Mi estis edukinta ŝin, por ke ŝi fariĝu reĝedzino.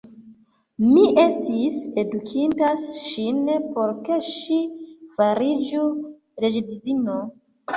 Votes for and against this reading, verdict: 1, 2, rejected